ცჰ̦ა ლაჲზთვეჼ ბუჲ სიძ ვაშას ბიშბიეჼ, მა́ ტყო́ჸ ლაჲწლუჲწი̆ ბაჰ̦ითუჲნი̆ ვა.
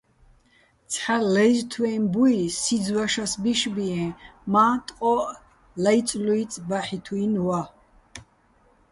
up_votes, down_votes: 2, 0